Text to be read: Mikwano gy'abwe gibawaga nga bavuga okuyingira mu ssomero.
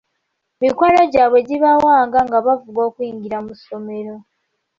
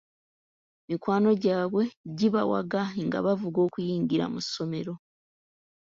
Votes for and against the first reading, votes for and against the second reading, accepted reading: 1, 2, 3, 0, second